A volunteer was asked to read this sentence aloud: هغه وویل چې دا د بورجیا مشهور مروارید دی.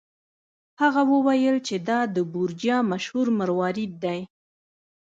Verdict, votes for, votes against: rejected, 1, 2